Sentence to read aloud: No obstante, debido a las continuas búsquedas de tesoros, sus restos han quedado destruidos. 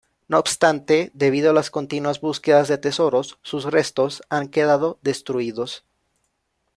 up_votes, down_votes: 2, 0